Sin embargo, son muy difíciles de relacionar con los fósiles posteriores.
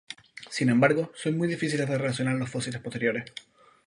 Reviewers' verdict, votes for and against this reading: rejected, 0, 2